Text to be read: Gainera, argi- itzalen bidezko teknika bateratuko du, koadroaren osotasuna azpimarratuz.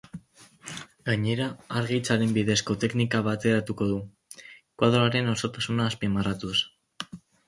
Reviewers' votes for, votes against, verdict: 2, 2, rejected